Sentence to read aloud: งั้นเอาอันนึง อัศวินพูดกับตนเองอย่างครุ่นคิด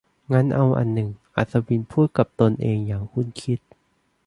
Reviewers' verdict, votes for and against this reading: accepted, 3, 1